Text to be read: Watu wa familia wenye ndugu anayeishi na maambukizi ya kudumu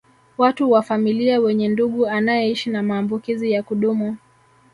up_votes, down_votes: 6, 0